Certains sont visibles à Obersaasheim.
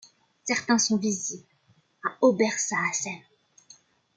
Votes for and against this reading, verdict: 2, 0, accepted